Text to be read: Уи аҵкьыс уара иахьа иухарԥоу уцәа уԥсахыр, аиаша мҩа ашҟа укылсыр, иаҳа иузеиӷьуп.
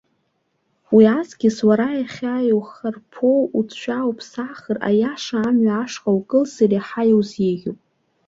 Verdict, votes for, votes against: accepted, 2, 0